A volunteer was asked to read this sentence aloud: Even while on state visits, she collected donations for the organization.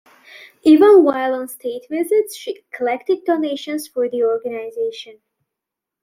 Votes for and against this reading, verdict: 2, 1, accepted